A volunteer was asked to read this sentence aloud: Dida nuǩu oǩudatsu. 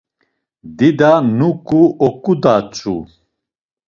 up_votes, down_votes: 2, 0